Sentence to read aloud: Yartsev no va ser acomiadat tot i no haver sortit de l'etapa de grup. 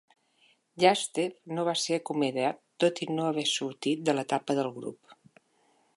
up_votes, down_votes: 0, 2